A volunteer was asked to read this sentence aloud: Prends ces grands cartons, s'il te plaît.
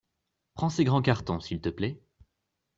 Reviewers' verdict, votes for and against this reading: accepted, 2, 0